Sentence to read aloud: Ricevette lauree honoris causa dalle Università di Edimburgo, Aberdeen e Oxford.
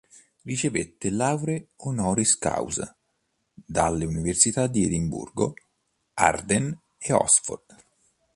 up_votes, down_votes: 1, 2